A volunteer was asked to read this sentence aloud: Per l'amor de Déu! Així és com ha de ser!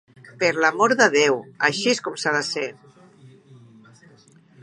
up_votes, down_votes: 0, 2